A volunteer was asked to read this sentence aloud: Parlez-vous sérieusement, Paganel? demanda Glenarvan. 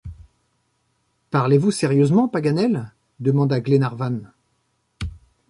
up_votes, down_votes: 2, 0